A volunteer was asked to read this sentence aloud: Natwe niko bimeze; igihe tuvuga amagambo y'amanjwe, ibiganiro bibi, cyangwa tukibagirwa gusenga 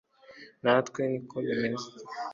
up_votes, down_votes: 0, 2